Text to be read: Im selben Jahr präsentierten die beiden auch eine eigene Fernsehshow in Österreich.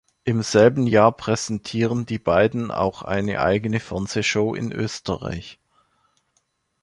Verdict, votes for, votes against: rejected, 1, 2